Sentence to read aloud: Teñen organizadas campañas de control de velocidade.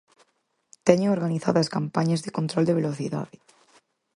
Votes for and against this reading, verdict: 4, 0, accepted